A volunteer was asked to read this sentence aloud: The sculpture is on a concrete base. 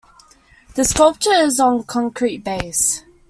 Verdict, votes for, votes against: rejected, 1, 2